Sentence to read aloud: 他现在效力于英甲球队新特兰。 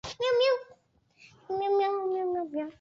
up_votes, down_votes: 0, 4